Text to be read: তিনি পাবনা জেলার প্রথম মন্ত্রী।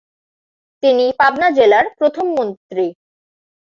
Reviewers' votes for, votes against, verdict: 2, 2, rejected